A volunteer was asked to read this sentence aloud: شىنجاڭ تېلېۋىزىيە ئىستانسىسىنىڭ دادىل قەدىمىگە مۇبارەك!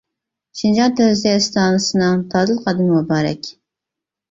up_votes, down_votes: 0, 2